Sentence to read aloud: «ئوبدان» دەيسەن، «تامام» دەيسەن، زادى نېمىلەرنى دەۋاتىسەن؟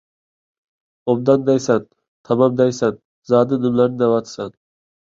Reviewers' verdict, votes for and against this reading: accepted, 2, 0